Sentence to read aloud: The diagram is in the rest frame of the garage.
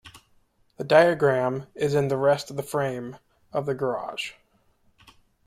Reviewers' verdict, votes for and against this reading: rejected, 1, 2